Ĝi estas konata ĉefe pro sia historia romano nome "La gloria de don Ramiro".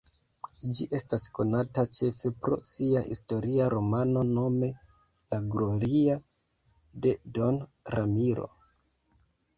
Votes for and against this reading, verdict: 1, 2, rejected